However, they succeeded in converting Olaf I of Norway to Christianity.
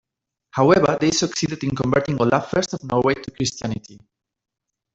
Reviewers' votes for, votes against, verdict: 2, 1, accepted